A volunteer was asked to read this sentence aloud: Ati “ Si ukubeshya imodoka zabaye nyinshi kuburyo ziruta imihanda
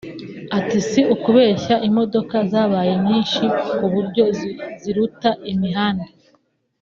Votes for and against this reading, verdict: 0, 2, rejected